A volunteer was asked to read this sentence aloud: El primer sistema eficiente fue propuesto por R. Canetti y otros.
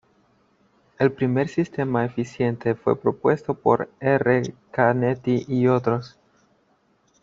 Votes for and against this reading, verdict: 0, 2, rejected